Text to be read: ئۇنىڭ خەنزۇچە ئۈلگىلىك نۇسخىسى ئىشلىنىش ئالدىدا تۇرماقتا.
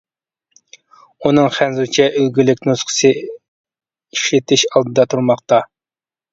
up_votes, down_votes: 0, 2